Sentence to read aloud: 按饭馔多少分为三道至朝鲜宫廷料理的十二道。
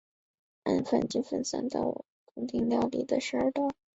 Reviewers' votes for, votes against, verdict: 0, 4, rejected